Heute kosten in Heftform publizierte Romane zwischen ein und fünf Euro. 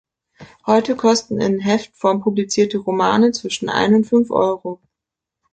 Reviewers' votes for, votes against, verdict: 2, 0, accepted